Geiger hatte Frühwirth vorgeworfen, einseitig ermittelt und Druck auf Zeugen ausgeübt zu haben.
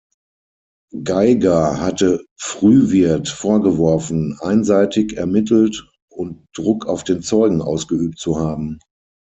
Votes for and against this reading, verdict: 3, 6, rejected